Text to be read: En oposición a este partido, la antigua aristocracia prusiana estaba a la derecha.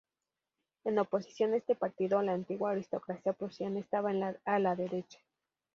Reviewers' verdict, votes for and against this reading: accepted, 2, 0